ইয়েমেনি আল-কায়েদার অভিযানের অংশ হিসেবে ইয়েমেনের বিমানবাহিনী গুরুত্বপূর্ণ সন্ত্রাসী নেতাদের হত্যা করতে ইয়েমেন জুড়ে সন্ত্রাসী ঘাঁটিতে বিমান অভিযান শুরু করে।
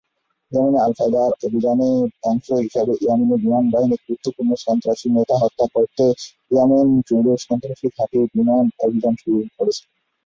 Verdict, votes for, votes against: rejected, 0, 2